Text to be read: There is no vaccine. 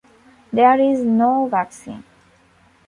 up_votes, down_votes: 3, 0